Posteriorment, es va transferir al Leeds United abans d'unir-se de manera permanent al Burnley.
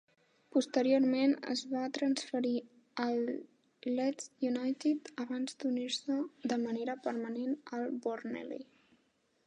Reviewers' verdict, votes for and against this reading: rejected, 0, 2